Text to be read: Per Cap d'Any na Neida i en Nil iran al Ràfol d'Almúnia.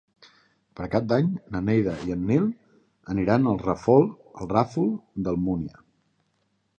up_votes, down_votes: 0, 2